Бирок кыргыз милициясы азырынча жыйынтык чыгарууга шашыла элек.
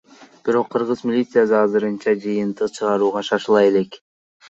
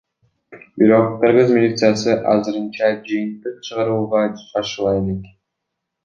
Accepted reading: second